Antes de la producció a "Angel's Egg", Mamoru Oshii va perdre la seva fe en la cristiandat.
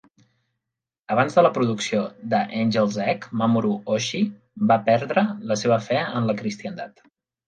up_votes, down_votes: 1, 2